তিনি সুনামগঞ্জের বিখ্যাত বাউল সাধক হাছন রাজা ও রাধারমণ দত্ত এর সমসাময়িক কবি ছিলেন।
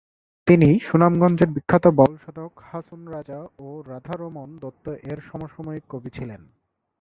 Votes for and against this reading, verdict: 1, 2, rejected